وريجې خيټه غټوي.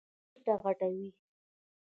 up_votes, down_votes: 0, 2